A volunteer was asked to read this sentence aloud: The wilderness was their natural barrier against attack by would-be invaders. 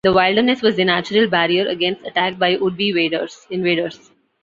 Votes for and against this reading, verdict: 0, 2, rejected